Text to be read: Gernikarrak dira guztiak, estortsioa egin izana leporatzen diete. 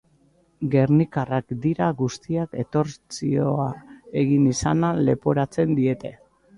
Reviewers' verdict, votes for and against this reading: rejected, 0, 2